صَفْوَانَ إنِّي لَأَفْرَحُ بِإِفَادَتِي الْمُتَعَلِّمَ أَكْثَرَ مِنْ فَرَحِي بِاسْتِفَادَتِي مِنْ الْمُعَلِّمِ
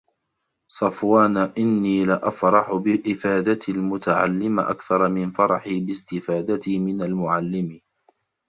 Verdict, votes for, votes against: rejected, 1, 2